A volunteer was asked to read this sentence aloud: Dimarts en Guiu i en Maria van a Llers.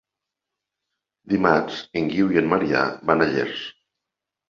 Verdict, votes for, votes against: rejected, 1, 2